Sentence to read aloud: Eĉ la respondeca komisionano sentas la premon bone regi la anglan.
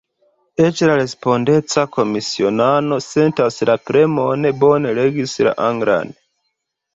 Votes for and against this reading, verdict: 0, 2, rejected